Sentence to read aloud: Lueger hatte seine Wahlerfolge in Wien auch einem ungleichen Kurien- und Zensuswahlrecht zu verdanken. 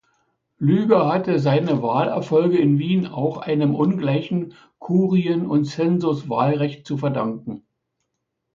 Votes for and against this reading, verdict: 1, 2, rejected